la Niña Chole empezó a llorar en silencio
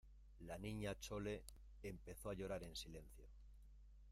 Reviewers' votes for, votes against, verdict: 0, 2, rejected